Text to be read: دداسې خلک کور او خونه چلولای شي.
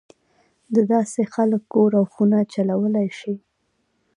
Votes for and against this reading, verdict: 2, 0, accepted